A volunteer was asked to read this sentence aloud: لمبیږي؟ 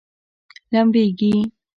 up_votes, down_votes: 2, 0